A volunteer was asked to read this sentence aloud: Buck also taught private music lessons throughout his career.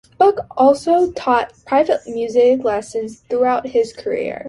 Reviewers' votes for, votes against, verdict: 2, 1, accepted